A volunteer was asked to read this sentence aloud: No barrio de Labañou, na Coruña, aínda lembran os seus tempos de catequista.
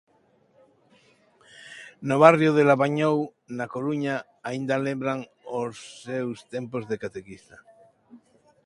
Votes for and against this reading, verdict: 2, 1, accepted